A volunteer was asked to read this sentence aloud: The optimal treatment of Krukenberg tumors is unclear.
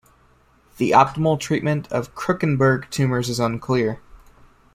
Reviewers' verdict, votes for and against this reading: accepted, 2, 0